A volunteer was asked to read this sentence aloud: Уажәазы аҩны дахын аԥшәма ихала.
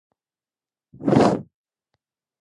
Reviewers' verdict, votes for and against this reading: rejected, 1, 2